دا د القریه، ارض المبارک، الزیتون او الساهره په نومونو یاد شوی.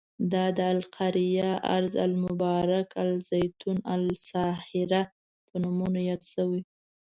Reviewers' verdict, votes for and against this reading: accepted, 2, 0